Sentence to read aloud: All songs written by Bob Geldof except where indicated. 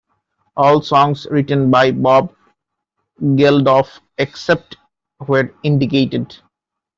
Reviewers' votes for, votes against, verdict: 2, 0, accepted